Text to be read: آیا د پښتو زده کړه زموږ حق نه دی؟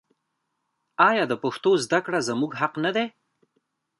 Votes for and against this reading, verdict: 2, 1, accepted